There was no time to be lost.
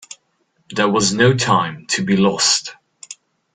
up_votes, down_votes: 2, 0